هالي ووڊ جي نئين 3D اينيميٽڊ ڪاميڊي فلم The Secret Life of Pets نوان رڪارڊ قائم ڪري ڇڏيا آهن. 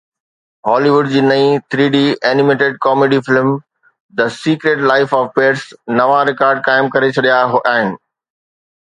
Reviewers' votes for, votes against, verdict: 0, 2, rejected